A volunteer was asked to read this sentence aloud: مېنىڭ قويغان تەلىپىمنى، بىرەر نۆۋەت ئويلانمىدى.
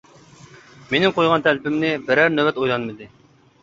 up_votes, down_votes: 2, 0